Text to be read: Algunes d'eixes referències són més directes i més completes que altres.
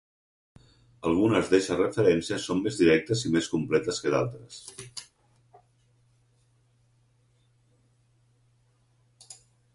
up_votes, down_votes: 2, 4